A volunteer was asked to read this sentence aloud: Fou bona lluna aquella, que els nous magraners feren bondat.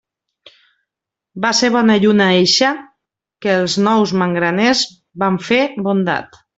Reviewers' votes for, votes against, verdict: 0, 2, rejected